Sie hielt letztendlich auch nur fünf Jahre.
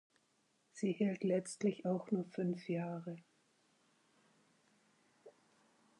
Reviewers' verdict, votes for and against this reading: rejected, 0, 6